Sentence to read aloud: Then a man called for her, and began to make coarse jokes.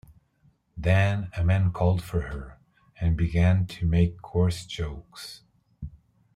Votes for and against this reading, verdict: 2, 0, accepted